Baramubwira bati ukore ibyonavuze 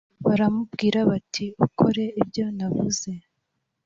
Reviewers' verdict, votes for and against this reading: accepted, 2, 0